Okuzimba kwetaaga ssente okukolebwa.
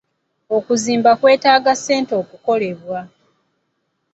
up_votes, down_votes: 2, 0